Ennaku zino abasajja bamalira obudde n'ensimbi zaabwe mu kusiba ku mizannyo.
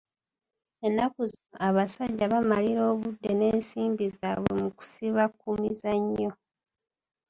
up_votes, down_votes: 2, 1